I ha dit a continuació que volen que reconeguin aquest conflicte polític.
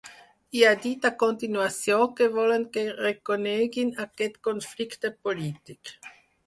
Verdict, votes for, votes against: accepted, 4, 0